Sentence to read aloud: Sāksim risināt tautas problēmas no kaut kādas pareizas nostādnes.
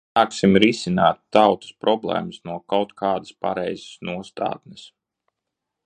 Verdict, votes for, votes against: rejected, 0, 2